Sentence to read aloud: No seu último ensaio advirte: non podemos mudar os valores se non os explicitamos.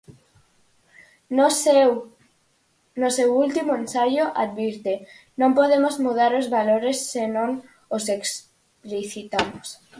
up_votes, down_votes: 0, 4